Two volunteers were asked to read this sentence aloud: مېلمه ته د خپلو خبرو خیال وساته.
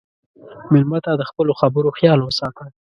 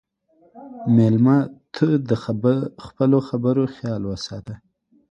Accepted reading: first